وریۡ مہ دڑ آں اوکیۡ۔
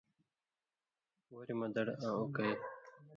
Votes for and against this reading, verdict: 2, 0, accepted